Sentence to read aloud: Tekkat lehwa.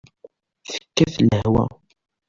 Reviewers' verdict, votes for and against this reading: accepted, 2, 1